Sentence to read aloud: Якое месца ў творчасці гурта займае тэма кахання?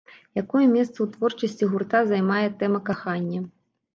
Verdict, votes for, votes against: accepted, 2, 0